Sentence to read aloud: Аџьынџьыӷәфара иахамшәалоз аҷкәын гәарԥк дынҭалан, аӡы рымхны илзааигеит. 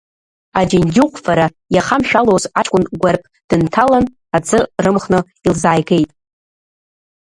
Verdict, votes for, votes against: rejected, 1, 2